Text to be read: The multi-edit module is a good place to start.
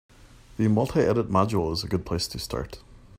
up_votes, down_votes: 2, 0